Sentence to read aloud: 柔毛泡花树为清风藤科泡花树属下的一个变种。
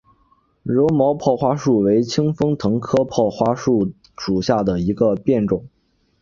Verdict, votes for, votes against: accepted, 3, 0